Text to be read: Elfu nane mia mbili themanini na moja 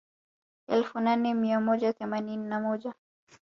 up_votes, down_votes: 0, 2